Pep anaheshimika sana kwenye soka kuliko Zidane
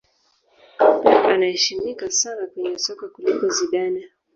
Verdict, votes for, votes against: rejected, 0, 2